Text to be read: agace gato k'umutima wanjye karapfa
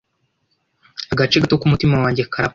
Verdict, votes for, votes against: rejected, 1, 2